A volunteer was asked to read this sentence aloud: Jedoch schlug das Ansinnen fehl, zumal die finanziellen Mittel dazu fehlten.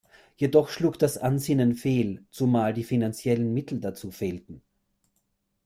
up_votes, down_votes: 2, 0